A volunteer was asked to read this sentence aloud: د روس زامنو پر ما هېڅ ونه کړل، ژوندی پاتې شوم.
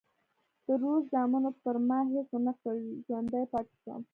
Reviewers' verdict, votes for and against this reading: accepted, 2, 0